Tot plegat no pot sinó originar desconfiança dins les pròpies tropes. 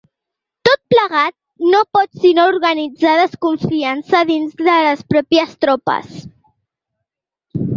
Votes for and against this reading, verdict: 0, 2, rejected